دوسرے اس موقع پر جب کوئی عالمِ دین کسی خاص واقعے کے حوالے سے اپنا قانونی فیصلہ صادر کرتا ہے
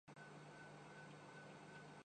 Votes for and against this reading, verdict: 5, 13, rejected